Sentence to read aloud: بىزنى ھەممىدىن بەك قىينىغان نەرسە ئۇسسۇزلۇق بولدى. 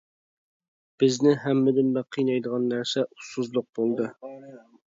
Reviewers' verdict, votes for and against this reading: rejected, 1, 2